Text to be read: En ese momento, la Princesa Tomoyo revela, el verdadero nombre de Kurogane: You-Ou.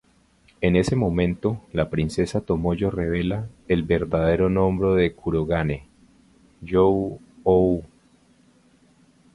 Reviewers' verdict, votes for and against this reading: accepted, 4, 2